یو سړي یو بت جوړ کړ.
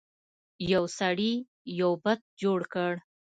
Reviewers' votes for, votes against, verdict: 2, 0, accepted